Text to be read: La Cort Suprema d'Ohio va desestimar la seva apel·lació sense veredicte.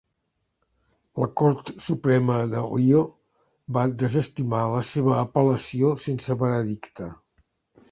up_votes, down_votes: 1, 2